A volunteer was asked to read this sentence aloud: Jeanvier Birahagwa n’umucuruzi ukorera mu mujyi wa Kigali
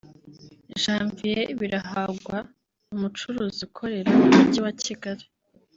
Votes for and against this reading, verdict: 1, 2, rejected